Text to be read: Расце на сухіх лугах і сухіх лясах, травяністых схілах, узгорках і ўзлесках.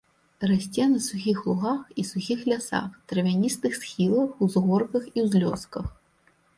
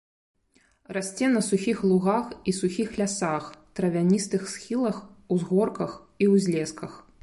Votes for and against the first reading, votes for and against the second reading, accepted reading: 1, 2, 2, 0, second